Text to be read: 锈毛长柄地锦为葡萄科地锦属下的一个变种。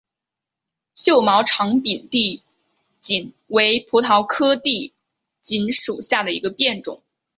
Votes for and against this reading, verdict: 3, 0, accepted